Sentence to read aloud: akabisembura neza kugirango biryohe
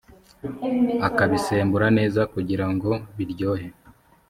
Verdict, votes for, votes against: accepted, 5, 0